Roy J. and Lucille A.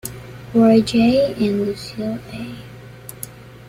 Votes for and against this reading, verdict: 2, 0, accepted